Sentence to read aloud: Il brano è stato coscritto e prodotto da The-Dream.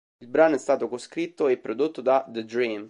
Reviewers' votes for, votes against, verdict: 2, 0, accepted